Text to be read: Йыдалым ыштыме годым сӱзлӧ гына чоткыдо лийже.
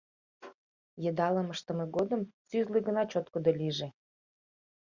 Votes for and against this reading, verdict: 2, 0, accepted